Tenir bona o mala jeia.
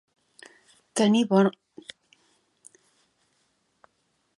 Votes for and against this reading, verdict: 1, 2, rejected